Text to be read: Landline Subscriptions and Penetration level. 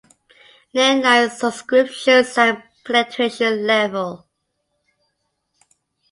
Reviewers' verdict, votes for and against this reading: accepted, 2, 0